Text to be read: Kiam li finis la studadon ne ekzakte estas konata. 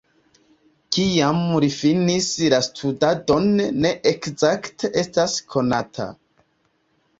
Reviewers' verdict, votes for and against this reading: rejected, 1, 2